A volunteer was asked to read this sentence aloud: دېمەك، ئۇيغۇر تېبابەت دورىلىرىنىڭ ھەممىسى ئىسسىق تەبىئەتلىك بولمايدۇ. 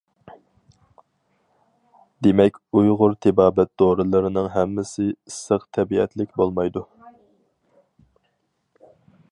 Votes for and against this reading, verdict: 4, 0, accepted